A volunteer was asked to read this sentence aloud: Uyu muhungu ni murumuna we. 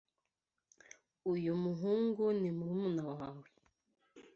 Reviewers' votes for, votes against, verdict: 1, 2, rejected